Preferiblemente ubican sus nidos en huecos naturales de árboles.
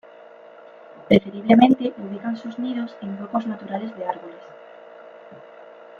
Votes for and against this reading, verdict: 0, 2, rejected